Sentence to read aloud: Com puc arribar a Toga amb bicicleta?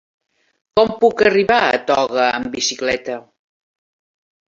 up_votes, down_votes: 2, 0